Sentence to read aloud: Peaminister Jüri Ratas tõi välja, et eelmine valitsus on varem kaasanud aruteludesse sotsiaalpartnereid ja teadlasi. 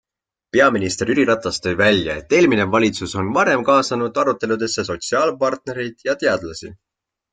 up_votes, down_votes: 3, 0